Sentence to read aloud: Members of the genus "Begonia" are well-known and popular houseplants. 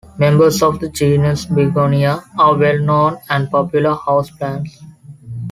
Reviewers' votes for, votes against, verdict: 2, 0, accepted